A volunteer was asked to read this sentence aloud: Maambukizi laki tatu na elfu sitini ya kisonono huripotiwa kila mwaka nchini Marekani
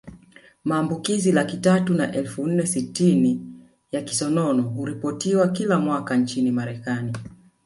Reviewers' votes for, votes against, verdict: 2, 3, rejected